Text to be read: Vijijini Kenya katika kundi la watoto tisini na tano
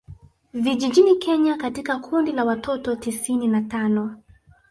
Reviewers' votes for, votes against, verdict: 2, 0, accepted